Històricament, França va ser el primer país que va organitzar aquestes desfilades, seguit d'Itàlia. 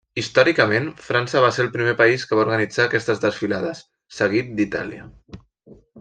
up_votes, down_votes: 3, 0